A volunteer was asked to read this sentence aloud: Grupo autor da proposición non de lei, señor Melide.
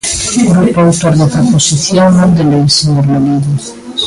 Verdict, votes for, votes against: rejected, 1, 2